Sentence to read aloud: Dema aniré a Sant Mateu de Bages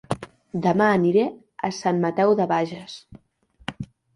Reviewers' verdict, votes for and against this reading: accepted, 2, 0